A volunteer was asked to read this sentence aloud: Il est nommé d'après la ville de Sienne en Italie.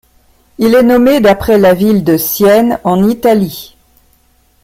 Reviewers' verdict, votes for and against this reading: accepted, 2, 0